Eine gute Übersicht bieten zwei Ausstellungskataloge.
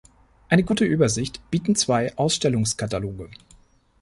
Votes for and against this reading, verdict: 2, 0, accepted